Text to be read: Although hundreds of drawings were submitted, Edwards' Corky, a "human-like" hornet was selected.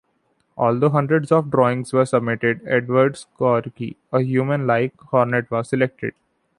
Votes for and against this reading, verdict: 2, 0, accepted